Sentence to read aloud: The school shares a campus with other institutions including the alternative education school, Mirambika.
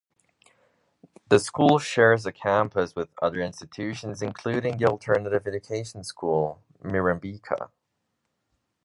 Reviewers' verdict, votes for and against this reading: accepted, 2, 1